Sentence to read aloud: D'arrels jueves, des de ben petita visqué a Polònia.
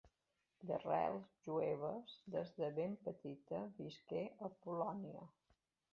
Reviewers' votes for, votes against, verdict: 2, 0, accepted